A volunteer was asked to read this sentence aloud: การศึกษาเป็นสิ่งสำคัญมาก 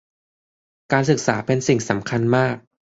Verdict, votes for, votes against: accepted, 2, 0